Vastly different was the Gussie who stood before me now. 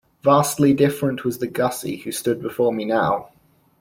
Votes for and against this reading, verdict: 2, 0, accepted